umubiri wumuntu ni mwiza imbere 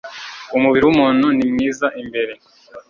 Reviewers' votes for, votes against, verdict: 2, 0, accepted